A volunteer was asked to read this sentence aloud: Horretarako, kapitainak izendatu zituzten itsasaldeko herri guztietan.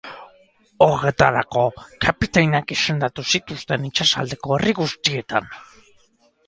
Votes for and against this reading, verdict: 4, 0, accepted